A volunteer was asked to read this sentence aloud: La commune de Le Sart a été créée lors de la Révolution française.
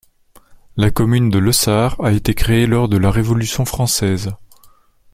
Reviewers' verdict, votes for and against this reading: accepted, 2, 0